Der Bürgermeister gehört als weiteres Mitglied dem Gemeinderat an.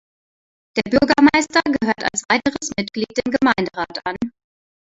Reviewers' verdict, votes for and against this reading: rejected, 1, 2